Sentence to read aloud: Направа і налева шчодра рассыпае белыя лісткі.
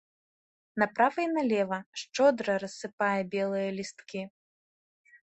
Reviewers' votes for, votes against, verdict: 2, 0, accepted